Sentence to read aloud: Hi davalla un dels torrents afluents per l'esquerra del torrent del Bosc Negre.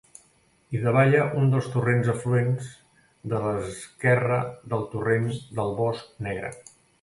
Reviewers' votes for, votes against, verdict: 0, 2, rejected